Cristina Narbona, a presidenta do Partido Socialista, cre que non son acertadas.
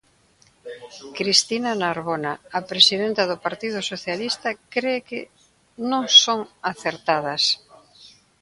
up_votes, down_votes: 1, 2